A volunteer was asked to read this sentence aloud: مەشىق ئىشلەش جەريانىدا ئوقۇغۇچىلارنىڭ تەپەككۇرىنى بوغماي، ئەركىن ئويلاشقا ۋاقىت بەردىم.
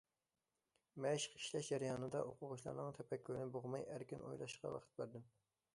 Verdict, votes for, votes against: accepted, 2, 0